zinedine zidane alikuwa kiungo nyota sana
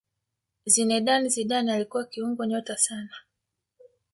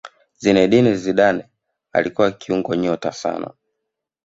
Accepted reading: first